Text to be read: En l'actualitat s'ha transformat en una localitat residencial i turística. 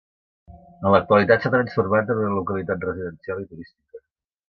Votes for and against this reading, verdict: 0, 2, rejected